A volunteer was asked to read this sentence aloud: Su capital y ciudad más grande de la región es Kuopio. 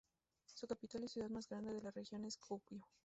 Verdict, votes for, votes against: rejected, 0, 2